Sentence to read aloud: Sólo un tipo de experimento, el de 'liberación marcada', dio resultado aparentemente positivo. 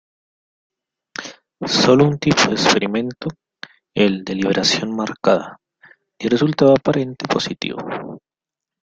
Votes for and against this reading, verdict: 0, 2, rejected